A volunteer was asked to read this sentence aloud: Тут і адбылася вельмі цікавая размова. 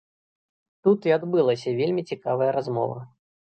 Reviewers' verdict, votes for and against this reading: rejected, 1, 2